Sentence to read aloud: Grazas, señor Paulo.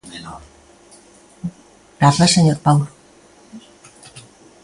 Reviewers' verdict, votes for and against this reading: accepted, 2, 0